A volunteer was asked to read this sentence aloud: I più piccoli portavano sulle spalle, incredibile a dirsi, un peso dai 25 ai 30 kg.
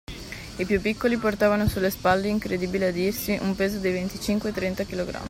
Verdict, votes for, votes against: rejected, 0, 2